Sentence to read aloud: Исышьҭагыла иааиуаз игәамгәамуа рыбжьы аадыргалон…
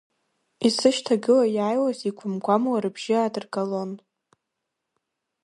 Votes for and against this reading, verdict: 0, 2, rejected